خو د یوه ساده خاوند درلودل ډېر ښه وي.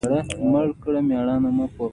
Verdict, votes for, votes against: accepted, 2, 0